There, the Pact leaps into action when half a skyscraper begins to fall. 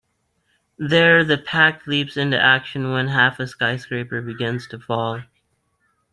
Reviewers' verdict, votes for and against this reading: accepted, 2, 0